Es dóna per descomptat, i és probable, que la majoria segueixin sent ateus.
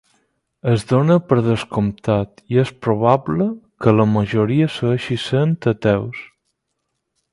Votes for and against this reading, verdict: 2, 6, rejected